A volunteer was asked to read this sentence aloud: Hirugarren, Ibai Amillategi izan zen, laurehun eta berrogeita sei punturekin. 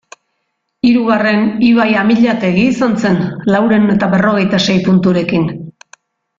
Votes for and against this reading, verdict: 2, 0, accepted